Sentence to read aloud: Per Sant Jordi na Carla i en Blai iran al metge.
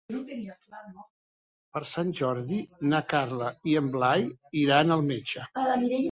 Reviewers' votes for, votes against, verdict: 1, 2, rejected